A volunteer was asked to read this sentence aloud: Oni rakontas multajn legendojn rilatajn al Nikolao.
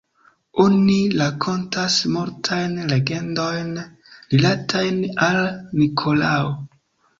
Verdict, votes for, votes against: rejected, 1, 2